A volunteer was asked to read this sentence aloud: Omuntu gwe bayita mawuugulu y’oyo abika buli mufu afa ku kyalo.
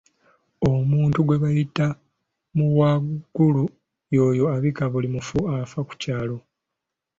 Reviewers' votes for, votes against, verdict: 1, 2, rejected